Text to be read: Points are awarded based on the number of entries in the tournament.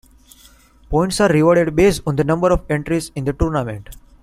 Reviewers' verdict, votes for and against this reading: rejected, 0, 2